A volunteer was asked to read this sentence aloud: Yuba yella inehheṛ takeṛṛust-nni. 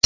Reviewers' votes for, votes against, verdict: 1, 2, rejected